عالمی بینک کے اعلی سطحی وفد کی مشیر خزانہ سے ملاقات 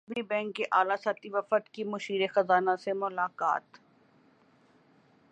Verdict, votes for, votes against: rejected, 1, 2